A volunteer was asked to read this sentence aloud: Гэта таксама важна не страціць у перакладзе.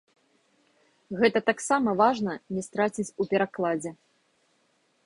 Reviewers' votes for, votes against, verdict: 2, 0, accepted